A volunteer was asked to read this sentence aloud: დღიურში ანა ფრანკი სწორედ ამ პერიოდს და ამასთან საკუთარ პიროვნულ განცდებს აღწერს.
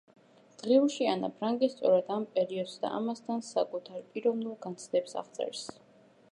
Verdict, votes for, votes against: accepted, 2, 1